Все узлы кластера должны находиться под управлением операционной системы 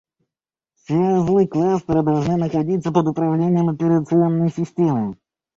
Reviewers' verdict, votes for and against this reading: rejected, 0, 2